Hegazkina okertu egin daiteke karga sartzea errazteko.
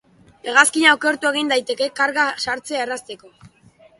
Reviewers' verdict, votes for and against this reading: accepted, 2, 0